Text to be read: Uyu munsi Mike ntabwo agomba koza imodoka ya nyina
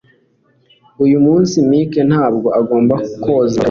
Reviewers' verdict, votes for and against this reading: rejected, 0, 2